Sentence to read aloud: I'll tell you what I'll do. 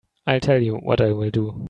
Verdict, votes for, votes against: accepted, 2, 1